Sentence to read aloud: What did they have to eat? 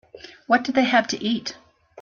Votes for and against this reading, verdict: 2, 0, accepted